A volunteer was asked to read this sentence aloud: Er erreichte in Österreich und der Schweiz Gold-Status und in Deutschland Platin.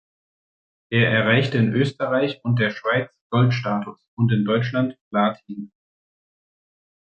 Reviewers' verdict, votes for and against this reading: accepted, 2, 0